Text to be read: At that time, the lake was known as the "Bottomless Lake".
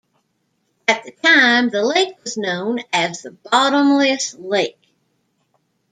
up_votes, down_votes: 1, 2